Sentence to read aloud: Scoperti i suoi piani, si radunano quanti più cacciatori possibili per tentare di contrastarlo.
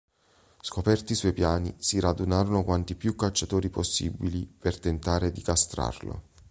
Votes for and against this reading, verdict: 0, 3, rejected